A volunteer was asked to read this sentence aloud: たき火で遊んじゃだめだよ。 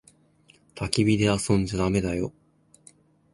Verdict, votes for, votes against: accepted, 2, 0